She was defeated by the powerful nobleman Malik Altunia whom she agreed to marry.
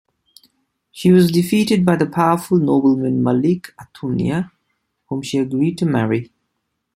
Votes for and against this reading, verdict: 2, 0, accepted